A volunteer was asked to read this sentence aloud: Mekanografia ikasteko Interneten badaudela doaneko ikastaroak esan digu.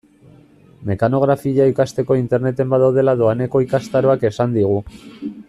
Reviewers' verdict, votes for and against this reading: accepted, 2, 0